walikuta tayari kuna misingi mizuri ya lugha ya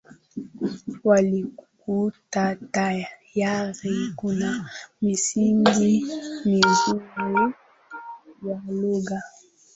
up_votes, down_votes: 0, 2